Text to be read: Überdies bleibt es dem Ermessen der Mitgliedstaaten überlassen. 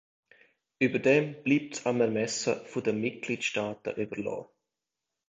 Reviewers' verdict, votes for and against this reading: rejected, 0, 2